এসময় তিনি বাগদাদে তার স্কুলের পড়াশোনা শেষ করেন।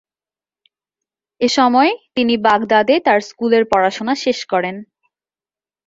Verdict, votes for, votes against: accepted, 2, 0